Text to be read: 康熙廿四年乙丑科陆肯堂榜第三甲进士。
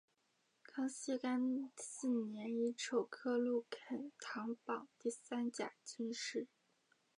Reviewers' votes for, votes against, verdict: 3, 0, accepted